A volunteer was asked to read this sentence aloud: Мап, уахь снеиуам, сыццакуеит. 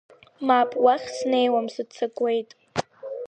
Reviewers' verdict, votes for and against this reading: accepted, 2, 0